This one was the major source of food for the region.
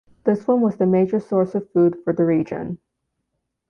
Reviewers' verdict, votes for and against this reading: accepted, 2, 1